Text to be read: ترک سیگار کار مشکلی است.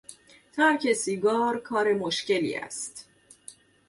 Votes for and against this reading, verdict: 2, 0, accepted